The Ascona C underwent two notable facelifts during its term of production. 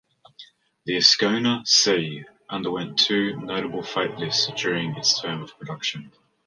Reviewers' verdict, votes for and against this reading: accepted, 2, 1